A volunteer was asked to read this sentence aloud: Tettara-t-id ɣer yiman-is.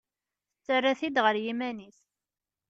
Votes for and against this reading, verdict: 0, 2, rejected